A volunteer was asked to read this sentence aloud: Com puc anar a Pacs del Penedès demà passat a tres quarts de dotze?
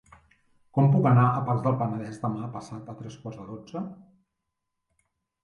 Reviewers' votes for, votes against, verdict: 2, 1, accepted